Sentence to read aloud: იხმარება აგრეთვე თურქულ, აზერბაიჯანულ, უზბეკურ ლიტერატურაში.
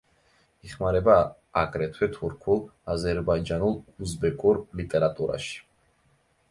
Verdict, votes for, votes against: accepted, 2, 0